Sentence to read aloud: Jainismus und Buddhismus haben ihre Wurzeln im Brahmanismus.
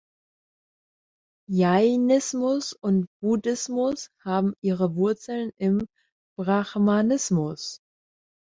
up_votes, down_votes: 1, 2